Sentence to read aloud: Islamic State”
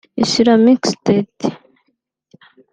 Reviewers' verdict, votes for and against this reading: rejected, 2, 3